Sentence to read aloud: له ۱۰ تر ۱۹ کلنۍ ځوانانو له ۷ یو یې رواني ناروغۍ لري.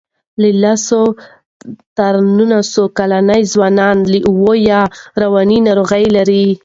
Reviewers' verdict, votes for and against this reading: rejected, 0, 2